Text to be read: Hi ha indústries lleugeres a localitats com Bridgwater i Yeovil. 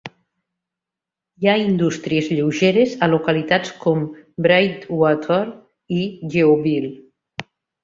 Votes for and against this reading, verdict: 1, 2, rejected